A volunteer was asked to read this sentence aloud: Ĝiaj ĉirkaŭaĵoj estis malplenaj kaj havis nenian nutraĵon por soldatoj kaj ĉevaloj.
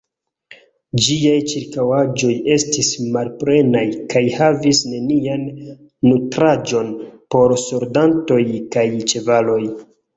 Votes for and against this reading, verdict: 0, 2, rejected